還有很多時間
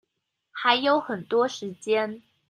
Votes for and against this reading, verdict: 2, 0, accepted